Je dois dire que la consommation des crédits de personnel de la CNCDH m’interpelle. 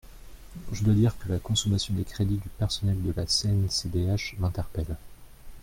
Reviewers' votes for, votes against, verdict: 2, 0, accepted